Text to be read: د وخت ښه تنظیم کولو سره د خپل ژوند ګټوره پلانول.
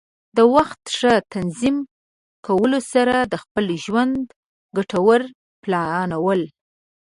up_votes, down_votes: 1, 2